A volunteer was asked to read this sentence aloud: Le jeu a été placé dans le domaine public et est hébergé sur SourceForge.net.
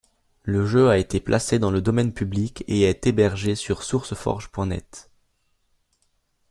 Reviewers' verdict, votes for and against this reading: accepted, 3, 0